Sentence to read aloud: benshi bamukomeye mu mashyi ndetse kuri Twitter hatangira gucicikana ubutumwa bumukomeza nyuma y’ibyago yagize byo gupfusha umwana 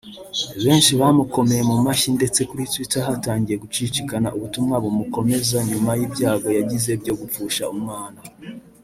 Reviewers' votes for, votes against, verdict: 1, 2, rejected